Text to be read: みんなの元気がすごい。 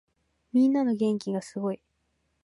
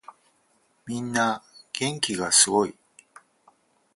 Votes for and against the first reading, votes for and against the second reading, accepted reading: 2, 1, 2, 4, first